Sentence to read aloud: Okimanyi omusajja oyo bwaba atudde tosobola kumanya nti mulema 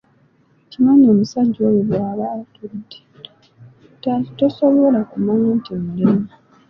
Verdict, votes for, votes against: rejected, 0, 2